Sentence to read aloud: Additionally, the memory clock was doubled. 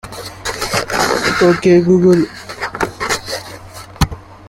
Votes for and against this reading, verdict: 0, 2, rejected